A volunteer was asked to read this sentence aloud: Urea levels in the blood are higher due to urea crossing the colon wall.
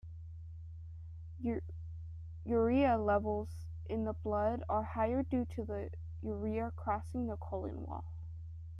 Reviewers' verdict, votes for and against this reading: rejected, 1, 2